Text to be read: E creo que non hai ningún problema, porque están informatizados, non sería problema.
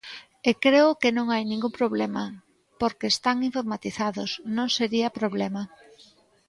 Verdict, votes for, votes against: accepted, 2, 0